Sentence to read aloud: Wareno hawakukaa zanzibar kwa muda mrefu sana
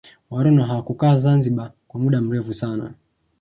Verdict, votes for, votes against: accepted, 10, 1